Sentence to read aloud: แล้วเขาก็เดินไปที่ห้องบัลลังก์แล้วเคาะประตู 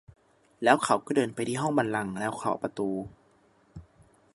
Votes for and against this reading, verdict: 3, 0, accepted